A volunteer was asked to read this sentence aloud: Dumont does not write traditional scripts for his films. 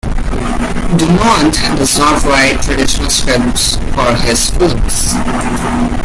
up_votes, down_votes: 3, 1